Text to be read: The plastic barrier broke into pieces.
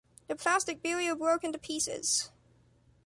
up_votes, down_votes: 1, 2